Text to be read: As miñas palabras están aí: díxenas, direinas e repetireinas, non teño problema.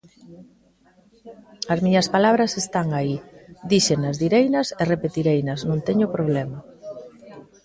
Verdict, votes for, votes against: rejected, 1, 2